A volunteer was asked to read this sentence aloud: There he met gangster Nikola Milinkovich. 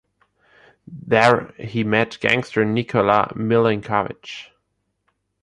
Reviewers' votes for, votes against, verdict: 2, 0, accepted